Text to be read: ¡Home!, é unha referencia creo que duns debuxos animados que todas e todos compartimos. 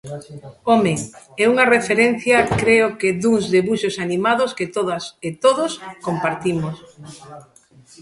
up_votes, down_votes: 0, 2